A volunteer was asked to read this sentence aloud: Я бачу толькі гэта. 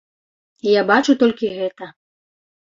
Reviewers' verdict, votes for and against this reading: accepted, 2, 0